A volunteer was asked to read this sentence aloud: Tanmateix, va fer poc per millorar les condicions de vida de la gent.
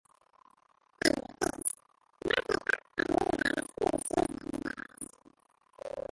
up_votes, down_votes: 0, 2